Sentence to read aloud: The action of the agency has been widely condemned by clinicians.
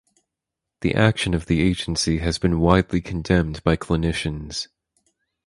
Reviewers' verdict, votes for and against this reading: accepted, 4, 0